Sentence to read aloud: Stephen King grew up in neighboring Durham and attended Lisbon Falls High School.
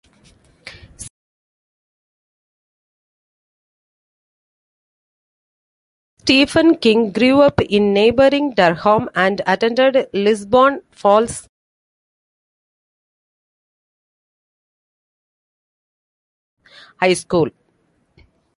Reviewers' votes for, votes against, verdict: 0, 2, rejected